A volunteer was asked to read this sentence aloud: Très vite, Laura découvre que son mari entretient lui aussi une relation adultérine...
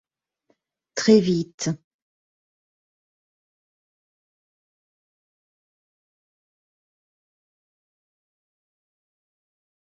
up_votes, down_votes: 0, 2